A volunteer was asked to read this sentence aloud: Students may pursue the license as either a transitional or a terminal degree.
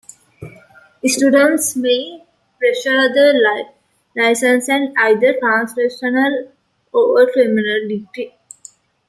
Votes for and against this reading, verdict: 1, 2, rejected